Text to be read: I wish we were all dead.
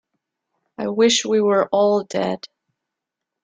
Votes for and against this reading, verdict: 2, 0, accepted